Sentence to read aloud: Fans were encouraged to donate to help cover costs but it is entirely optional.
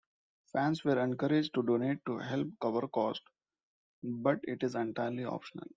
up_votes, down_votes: 2, 1